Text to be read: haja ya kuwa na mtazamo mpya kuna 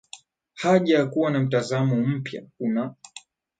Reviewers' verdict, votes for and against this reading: rejected, 1, 2